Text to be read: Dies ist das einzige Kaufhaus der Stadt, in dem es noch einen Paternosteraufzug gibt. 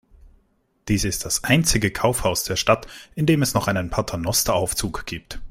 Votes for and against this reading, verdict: 2, 0, accepted